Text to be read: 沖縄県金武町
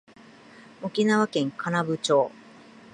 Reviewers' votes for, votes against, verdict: 2, 0, accepted